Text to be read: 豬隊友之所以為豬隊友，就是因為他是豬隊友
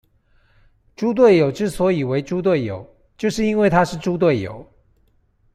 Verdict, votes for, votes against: accepted, 2, 0